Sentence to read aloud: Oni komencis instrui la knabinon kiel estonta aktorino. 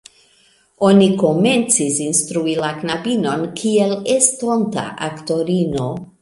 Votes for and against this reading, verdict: 2, 1, accepted